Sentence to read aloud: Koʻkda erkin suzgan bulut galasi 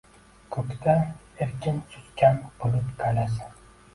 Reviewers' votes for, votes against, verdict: 2, 0, accepted